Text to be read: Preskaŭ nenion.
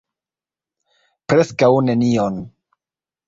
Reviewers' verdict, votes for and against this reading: rejected, 1, 2